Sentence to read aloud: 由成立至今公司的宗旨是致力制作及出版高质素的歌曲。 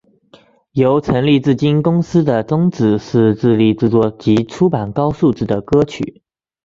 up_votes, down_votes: 2, 0